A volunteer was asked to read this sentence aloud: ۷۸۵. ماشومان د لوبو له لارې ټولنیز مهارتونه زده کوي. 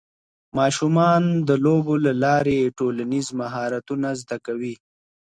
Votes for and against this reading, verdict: 0, 2, rejected